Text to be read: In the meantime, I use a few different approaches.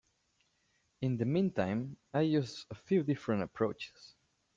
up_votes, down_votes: 2, 0